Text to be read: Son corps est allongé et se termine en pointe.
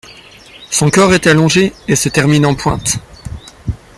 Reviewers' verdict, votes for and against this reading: accepted, 2, 1